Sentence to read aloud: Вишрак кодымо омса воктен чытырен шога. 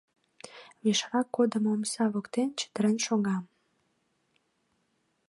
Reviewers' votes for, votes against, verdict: 2, 0, accepted